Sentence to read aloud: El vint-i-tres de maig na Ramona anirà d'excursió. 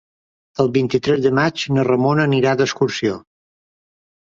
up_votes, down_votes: 4, 0